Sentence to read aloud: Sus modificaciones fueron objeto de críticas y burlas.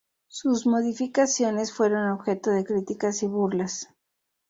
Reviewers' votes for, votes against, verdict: 0, 2, rejected